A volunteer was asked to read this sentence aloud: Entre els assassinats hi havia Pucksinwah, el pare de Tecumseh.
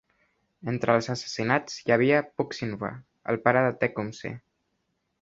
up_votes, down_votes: 2, 0